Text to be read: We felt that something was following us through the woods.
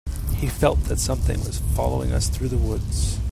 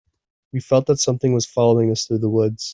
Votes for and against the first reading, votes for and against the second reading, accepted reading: 1, 2, 2, 0, second